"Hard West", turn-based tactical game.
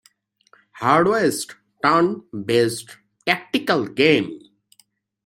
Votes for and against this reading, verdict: 2, 0, accepted